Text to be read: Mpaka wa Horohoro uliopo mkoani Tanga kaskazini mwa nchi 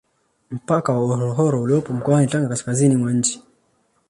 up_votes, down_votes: 2, 0